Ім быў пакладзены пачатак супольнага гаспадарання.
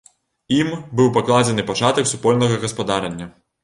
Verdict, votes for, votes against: accepted, 2, 0